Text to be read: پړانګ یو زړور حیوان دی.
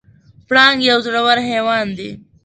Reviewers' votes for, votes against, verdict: 2, 0, accepted